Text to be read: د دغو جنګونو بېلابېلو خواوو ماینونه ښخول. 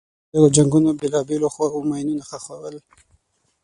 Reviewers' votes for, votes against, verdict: 0, 6, rejected